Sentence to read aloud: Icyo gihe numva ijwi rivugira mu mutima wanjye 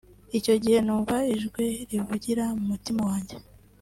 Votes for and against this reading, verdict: 2, 1, accepted